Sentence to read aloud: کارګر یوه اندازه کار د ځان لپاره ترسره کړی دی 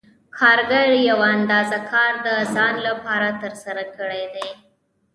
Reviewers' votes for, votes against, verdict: 2, 0, accepted